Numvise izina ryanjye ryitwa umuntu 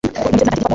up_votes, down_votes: 0, 2